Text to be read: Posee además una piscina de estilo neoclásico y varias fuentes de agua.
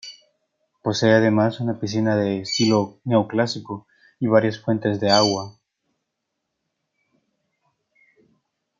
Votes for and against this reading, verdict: 0, 2, rejected